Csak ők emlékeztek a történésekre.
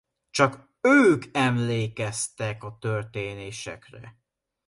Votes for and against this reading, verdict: 2, 0, accepted